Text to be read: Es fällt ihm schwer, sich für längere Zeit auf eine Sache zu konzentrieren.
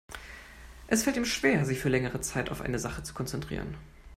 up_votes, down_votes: 2, 0